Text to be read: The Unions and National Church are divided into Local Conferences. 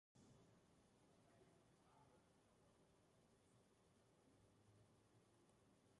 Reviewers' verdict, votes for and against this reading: rejected, 0, 2